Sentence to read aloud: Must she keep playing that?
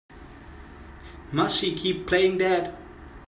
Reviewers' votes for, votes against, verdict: 2, 1, accepted